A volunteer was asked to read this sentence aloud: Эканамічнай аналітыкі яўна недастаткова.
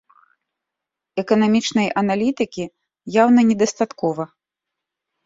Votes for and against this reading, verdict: 2, 1, accepted